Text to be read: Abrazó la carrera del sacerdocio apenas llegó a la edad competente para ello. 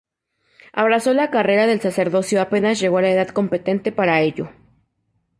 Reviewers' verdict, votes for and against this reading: accepted, 2, 0